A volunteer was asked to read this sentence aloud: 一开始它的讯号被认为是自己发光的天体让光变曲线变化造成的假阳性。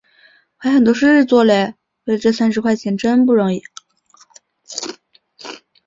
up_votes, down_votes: 0, 2